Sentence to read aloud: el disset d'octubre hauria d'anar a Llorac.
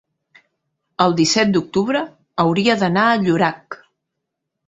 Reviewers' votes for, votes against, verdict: 2, 0, accepted